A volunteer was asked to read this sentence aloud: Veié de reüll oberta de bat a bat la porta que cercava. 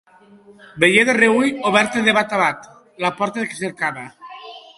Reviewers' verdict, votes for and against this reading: rejected, 0, 2